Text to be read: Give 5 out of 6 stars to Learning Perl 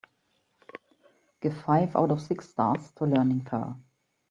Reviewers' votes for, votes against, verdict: 0, 2, rejected